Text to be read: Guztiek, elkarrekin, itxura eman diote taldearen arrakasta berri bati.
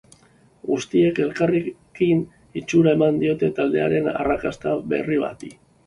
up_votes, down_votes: 2, 1